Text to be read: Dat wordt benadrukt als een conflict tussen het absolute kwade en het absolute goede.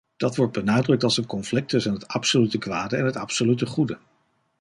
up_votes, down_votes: 2, 0